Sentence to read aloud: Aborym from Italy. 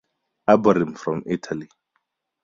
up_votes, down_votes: 6, 0